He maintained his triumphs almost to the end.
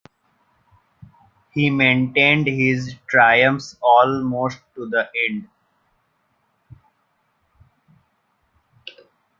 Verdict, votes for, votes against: rejected, 1, 2